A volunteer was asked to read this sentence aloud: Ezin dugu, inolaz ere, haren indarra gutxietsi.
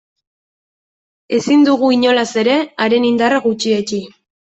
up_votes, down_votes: 2, 0